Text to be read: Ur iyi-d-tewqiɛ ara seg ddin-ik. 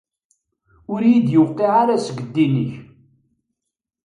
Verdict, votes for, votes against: accepted, 2, 0